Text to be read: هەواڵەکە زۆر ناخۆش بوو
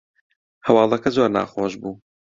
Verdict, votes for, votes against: accepted, 2, 0